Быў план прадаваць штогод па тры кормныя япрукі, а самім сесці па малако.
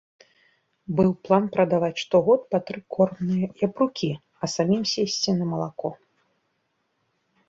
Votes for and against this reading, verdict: 0, 2, rejected